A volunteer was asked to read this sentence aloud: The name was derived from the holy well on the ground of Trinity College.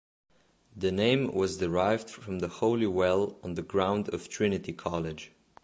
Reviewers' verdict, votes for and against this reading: accepted, 2, 0